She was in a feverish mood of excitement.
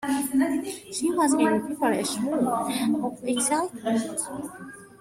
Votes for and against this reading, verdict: 0, 2, rejected